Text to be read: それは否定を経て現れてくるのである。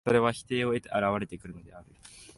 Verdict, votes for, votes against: rejected, 0, 2